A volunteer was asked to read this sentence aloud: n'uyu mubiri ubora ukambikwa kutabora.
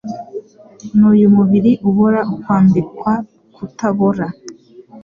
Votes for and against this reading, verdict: 2, 0, accepted